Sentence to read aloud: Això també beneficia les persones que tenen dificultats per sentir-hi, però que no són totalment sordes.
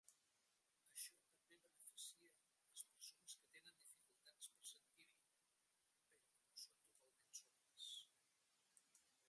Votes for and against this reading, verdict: 0, 2, rejected